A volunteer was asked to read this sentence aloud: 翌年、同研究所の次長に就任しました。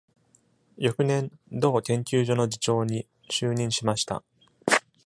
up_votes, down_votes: 2, 0